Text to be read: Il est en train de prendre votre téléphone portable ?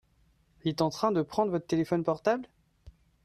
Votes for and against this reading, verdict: 2, 0, accepted